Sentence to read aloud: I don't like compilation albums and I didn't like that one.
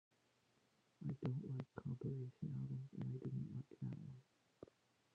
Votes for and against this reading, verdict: 1, 2, rejected